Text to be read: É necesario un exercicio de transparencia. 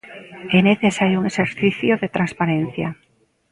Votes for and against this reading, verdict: 2, 0, accepted